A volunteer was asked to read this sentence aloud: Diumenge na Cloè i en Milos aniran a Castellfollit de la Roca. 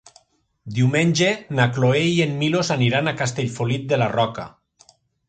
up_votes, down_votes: 0, 2